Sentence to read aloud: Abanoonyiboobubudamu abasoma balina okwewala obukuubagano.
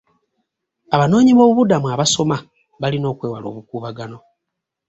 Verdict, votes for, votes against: accepted, 2, 0